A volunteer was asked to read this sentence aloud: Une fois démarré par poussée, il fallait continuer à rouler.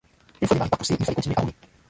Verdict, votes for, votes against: rejected, 0, 2